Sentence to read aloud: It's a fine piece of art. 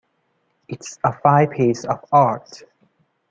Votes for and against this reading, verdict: 2, 1, accepted